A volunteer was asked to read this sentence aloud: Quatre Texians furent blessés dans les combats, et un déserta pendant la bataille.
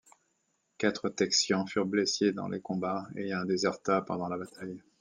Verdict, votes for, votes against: accepted, 2, 0